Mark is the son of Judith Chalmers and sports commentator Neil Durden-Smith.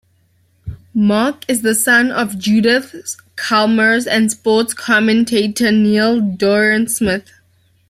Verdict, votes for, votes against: rejected, 0, 2